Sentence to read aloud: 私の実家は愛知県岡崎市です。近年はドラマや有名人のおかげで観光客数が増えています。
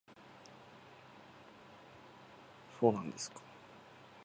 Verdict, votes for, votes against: rejected, 0, 3